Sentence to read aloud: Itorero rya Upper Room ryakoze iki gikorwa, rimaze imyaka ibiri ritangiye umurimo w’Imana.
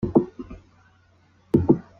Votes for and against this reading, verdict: 0, 2, rejected